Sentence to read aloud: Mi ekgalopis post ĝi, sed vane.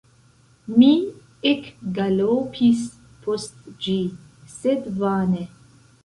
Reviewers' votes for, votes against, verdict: 0, 2, rejected